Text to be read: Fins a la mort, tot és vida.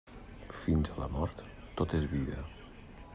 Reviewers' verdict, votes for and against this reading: rejected, 1, 2